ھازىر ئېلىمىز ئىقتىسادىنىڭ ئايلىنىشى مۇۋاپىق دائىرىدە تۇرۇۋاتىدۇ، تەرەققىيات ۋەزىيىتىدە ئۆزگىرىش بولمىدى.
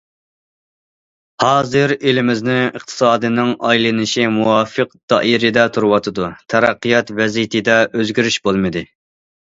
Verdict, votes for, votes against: rejected, 0, 2